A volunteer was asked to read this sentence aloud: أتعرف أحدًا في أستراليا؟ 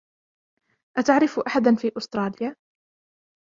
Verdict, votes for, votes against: rejected, 0, 2